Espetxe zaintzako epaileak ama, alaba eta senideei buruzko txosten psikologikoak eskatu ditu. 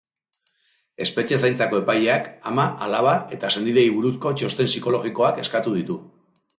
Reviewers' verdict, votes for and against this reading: accepted, 2, 0